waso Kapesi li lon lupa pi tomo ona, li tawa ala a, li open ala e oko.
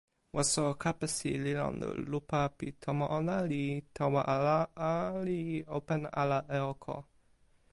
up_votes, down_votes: 1, 2